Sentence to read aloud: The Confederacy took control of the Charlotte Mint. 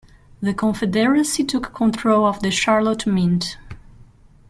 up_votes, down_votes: 1, 2